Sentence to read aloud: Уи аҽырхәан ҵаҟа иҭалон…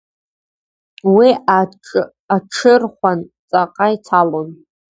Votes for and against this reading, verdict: 0, 3, rejected